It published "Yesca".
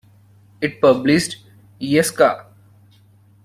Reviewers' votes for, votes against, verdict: 2, 0, accepted